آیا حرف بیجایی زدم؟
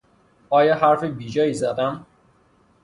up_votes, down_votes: 3, 0